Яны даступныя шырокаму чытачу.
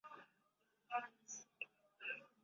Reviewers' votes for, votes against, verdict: 0, 2, rejected